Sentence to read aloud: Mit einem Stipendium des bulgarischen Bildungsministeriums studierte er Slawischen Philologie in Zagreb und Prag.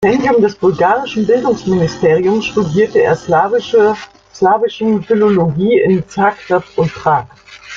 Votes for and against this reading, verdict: 0, 2, rejected